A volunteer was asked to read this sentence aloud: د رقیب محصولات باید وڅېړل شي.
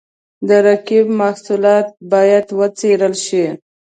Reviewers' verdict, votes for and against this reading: accepted, 2, 0